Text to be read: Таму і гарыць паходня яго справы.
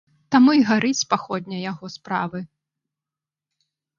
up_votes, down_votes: 2, 0